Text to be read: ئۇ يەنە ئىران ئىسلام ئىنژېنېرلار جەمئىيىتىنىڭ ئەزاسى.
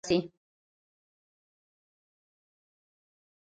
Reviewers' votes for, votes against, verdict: 0, 2, rejected